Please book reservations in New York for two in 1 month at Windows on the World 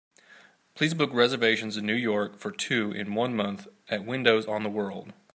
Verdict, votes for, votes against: rejected, 0, 2